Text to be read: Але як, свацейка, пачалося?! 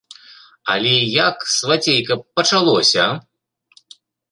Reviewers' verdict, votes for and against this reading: accepted, 2, 1